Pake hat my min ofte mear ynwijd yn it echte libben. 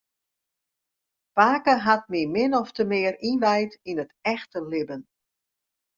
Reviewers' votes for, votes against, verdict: 2, 0, accepted